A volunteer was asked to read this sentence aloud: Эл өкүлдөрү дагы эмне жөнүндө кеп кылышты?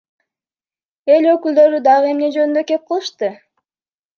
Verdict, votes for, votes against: accepted, 2, 0